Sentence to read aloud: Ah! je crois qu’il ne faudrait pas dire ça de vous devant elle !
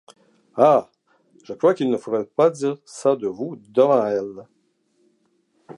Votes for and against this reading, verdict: 2, 0, accepted